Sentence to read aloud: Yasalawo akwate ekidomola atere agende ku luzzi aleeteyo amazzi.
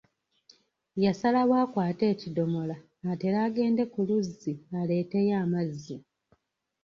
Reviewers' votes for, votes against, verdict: 2, 0, accepted